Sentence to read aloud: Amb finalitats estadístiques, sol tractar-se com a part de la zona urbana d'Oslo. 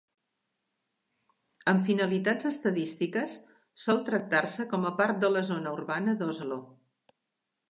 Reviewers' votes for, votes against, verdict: 2, 0, accepted